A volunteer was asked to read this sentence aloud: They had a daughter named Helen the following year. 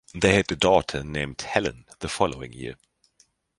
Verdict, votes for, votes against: accepted, 2, 1